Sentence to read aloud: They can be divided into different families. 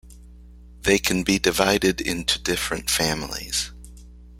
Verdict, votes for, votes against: accepted, 2, 0